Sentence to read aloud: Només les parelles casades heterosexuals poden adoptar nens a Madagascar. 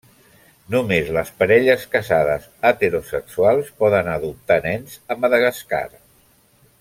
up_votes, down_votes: 1, 2